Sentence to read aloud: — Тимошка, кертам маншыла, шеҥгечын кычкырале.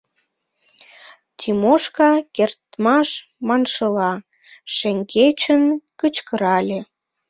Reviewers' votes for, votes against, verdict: 0, 2, rejected